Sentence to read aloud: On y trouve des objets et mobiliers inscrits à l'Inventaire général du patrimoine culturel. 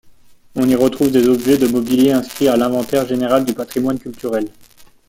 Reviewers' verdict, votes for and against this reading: rejected, 1, 2